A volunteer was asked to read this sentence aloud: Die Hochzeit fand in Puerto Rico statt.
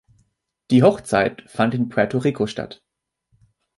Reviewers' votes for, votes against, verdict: 2, 0, accepted